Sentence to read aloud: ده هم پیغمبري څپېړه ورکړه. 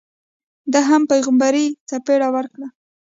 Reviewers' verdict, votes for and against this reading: accepted, 2, 0